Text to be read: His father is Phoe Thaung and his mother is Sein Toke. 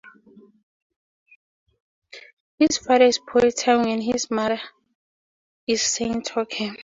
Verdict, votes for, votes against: rejected, 2, 2